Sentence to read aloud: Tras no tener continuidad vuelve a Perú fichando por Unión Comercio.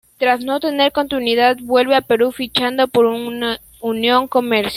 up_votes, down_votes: 0, 2